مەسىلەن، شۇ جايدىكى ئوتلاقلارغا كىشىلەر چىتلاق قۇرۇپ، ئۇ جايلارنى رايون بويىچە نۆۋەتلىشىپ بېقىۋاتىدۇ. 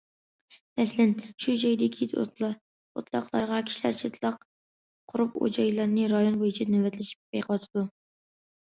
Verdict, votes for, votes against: rejected, 0, 2